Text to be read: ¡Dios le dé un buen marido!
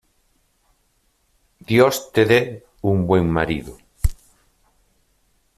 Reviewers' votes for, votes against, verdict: 0, 2, rejected